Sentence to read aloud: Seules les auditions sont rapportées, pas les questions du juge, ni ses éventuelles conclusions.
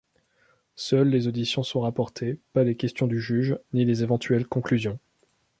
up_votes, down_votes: 0, 3